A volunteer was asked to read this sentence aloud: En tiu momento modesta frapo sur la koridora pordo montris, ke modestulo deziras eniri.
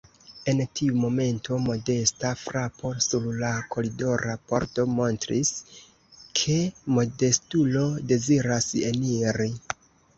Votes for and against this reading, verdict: 0, 2, rejected